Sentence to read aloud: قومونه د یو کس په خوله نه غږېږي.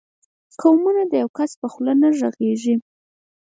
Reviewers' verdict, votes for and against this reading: rejected, 2, 4